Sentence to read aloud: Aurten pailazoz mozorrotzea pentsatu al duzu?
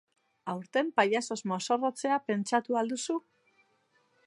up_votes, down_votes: 2, 0